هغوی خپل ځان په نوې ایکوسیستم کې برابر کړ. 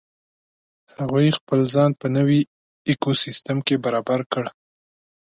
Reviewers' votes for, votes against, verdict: 2, 0, accepted